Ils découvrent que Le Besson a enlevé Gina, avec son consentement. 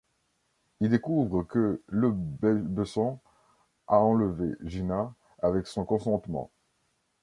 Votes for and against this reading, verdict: 1, 3, rejected